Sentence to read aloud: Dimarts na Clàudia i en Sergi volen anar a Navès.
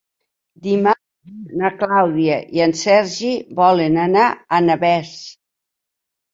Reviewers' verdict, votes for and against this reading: rejected, 1, 2